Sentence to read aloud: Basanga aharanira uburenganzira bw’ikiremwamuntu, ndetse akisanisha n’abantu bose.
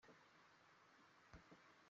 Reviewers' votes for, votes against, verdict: 0, 2, rejected